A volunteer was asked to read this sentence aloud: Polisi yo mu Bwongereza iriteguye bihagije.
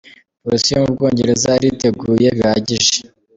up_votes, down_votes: 3, 0